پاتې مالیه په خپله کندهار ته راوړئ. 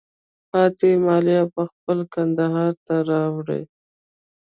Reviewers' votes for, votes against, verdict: 1, 2, rejected